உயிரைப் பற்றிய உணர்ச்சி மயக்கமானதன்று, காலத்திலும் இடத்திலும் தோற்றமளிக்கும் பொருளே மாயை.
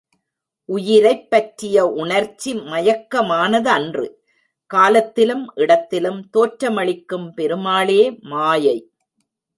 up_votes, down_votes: 0, 2